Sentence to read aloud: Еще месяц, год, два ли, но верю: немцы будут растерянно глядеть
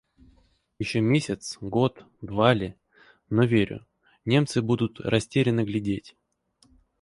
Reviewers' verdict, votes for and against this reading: accepted, 4, 0